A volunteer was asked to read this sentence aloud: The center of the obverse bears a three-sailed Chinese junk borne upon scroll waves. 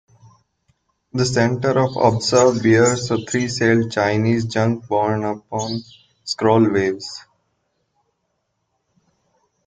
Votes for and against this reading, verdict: 0, 2, rejected